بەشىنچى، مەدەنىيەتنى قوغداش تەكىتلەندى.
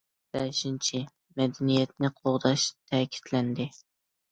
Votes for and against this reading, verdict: 2, 0, accepted